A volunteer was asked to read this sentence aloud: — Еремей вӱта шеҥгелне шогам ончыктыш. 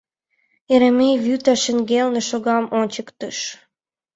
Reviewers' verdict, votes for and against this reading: rejected, 1, 2